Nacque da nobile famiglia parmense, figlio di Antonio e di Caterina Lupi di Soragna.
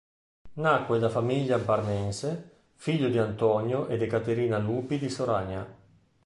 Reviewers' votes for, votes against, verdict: 0, 2, rejected